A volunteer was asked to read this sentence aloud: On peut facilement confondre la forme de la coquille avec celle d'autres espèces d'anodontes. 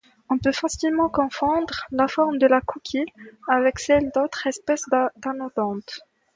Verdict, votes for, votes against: accepted, 2, 0